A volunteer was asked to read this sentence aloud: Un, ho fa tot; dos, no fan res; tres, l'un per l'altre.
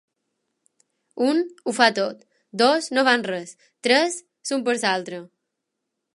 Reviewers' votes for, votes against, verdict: 1, 4, rejected